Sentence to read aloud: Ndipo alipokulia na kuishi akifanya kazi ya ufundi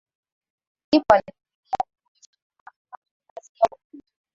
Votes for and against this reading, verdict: 0, 4, rejected